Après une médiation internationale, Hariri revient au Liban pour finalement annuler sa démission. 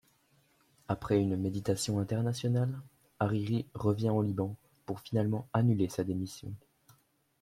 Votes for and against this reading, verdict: 0, 2, rejected